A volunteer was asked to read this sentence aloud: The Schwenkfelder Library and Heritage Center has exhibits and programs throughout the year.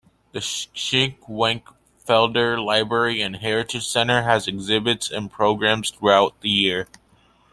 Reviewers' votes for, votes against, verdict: 0, 2, rejected